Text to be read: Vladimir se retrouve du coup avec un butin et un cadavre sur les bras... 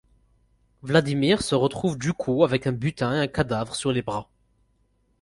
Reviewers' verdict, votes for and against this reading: accepted, 4, 2